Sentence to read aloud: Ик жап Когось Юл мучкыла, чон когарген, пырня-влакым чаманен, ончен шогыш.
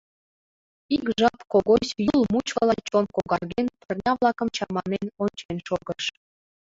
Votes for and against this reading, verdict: 1, 2, rejected